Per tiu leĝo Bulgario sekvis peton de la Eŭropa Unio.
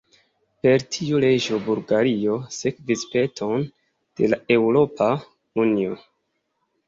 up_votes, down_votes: 2, 0